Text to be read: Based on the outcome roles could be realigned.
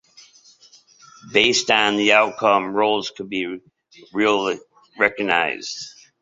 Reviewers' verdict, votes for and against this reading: rejected, 0, 2